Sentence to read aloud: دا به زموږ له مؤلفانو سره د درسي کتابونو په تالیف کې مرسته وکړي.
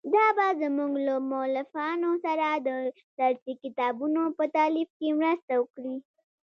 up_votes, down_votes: 1, 2